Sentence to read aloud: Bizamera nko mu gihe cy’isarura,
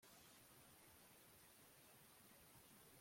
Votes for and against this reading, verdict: 1, 2, rejected